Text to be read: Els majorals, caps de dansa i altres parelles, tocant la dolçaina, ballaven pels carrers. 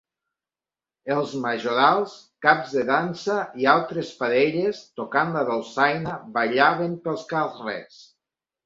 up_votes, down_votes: 1, 2